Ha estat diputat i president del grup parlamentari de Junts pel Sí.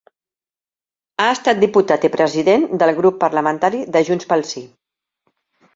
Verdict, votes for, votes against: accepted, 3, 0